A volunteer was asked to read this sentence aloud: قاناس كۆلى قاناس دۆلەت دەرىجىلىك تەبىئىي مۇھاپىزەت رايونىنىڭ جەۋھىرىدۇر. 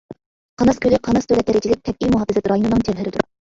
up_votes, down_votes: 1, 2